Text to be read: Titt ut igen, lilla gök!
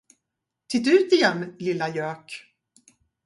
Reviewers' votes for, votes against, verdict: 2, 2, rejected